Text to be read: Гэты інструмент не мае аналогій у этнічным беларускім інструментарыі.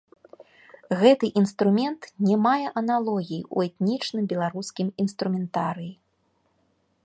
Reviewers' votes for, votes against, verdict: 0, 2, rejected